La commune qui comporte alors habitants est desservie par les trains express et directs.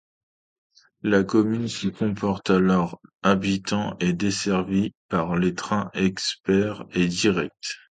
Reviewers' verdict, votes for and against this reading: rejected, 0, 2